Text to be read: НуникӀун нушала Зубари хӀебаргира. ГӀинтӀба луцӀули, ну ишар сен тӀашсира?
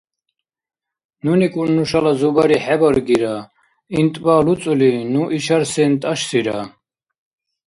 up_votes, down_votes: 2, 0